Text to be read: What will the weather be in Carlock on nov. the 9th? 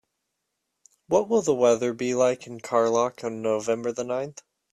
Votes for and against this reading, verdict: 0, 2, rejected